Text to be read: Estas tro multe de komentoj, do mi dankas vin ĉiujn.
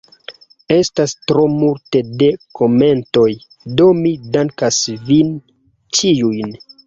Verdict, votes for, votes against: accepted, 2, 0